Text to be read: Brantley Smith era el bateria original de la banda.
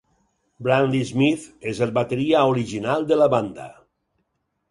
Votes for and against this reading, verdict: 0, 4, rejected